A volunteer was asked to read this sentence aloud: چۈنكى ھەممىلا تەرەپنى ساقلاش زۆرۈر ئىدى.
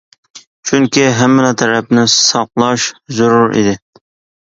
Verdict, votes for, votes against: accepted, 2, 0